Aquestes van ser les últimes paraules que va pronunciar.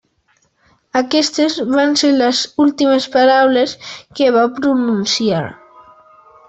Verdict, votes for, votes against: accepted, 3, 0